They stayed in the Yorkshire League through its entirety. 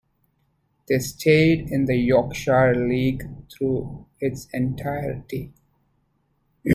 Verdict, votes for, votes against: rejected, 0, 2